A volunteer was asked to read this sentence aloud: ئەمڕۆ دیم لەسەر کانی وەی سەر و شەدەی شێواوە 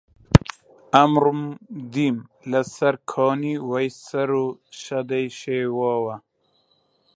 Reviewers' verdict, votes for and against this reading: accepted, 2, 1